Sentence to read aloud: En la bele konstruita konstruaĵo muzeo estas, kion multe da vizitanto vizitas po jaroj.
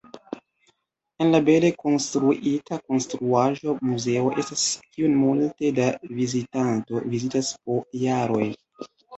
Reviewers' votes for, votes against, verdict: 1, 2, rejected